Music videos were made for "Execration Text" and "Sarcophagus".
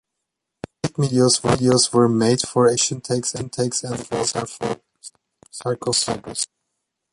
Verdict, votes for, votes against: rejected, 0, 2